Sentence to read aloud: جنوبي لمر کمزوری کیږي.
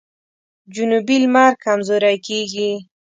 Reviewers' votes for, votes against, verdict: 2, 0, accepted